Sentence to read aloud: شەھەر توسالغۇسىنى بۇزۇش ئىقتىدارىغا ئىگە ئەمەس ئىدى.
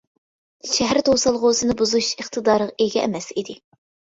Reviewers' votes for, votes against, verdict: 2, 0, accepted